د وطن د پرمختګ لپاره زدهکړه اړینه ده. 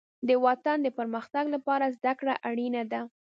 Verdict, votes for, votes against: rejected, 1, 2